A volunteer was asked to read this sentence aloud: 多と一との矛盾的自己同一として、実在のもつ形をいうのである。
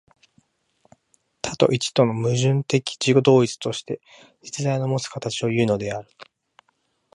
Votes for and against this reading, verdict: 2, 0, accepted